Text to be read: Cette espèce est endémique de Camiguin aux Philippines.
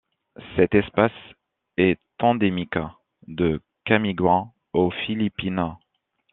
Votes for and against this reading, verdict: 0, 2, rejected